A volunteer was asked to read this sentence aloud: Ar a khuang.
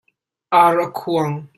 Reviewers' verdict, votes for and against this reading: accepted, 2, 0